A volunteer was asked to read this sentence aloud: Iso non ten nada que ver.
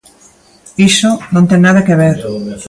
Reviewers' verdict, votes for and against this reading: rejected, 0, 2